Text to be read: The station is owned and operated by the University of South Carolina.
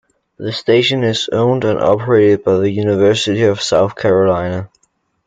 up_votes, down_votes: 2, 0